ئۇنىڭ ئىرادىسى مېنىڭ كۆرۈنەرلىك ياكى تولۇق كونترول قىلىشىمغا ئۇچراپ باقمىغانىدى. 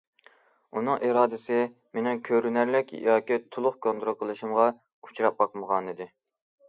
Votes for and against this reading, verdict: 2, 0, accepted